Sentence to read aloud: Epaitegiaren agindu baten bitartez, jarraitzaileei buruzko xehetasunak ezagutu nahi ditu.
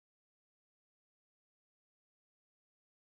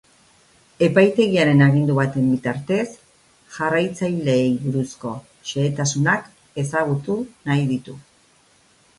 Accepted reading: second